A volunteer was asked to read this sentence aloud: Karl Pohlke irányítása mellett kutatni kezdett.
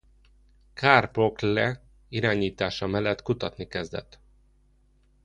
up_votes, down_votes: 0, 2